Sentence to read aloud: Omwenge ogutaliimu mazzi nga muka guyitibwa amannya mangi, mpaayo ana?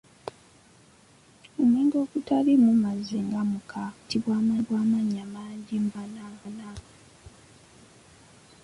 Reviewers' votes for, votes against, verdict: 0, 2, rejected